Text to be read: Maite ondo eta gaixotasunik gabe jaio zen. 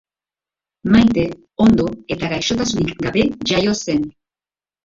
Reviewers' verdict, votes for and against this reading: rejected, 2, 2